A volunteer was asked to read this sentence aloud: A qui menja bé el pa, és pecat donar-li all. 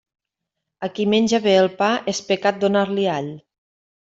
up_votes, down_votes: 3, 0